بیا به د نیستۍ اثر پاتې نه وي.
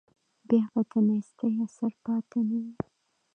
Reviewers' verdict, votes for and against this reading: accepted, 2, 1